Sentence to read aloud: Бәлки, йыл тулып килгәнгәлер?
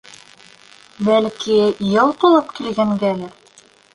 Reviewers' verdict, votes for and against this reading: rejected, 0, 2